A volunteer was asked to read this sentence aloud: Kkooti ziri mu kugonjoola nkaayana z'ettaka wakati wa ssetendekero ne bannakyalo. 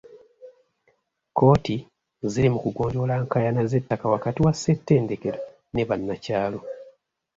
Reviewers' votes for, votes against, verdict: 2, 1, accepted